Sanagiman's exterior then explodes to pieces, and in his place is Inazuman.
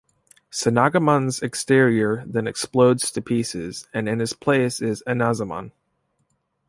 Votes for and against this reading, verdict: 2, 0, accepted